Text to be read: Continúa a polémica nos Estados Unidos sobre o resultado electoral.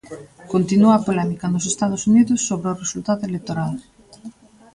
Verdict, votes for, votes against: accepted, 2, 0